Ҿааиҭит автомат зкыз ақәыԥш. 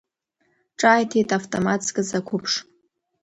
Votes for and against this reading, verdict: 2, 0, accepted